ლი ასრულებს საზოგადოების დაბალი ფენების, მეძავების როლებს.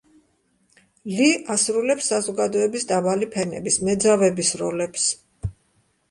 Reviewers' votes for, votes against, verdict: 2, 0, accepted